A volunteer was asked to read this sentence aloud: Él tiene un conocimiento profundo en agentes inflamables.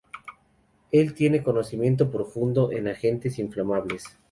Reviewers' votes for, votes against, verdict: 2, 0, accepted